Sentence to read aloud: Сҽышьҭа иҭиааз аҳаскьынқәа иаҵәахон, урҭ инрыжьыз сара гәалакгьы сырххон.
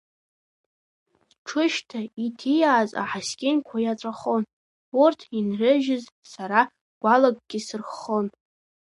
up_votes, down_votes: 1, 2